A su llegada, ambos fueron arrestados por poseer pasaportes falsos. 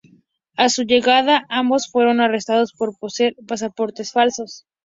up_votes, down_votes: 2, 0